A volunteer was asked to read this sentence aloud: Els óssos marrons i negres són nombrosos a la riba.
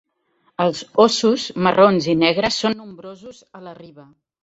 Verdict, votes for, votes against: rejected, 1, 2